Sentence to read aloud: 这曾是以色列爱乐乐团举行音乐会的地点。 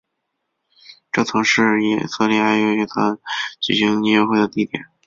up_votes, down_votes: 3, 1